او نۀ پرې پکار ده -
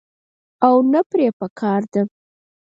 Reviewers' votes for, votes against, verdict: 2, 4, rejected